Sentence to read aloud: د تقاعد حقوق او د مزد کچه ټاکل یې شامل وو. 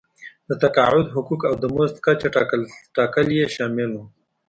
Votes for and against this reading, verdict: 1, 2, rejected